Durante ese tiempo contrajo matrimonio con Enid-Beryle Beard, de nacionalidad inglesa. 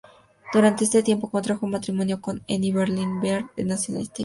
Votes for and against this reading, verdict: 0, 2, rejected